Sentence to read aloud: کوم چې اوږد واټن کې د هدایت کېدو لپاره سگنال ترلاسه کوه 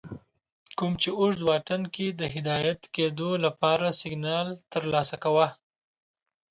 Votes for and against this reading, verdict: 2, 1, accepted